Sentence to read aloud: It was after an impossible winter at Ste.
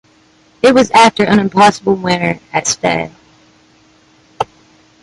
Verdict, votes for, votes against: accepted, 2, 0